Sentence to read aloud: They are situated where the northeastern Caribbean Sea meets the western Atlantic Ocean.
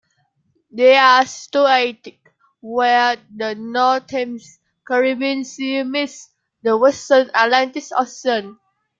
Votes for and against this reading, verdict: 0, 2, rejected